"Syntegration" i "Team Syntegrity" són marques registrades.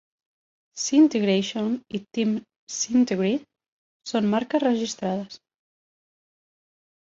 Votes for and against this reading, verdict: 1, 2, rejected